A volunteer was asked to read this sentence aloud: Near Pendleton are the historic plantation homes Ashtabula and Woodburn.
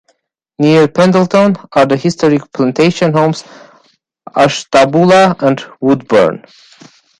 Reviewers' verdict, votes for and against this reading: accepted, 2, 1